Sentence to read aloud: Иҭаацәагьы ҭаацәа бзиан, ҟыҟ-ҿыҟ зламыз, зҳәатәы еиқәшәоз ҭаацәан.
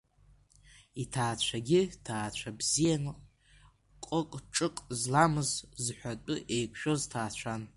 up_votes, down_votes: 2, 1